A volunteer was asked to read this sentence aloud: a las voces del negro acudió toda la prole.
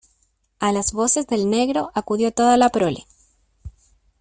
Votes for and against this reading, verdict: 2, 0, accepted